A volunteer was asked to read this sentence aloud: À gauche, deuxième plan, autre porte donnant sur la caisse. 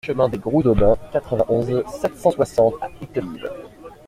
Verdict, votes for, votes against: rejected, 0, 2